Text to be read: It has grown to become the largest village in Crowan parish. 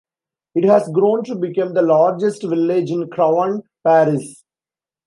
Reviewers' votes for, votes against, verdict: 1, 2, rejected